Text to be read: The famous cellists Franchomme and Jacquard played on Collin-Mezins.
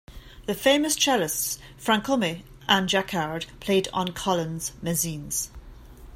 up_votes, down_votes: 1, 2